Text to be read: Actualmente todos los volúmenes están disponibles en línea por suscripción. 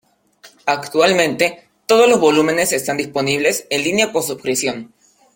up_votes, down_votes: 3, 0